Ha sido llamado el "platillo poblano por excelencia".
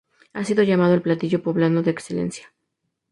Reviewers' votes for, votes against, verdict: 4, 0, accepted